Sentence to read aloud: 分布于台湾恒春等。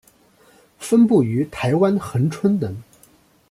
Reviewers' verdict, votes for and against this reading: accepted, 2, 0